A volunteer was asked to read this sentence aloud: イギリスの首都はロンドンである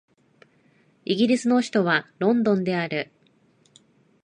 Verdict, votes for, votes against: accepted, 12, 2